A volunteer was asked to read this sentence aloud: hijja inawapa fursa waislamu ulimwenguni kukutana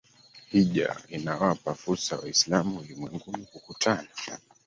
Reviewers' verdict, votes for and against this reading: rejected, 1, 3